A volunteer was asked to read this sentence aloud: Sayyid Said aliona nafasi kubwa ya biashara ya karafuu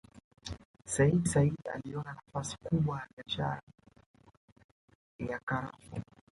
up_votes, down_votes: 1, 2